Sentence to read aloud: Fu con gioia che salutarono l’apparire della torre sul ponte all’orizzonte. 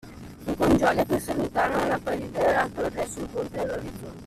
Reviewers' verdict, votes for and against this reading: rejected, 1, 2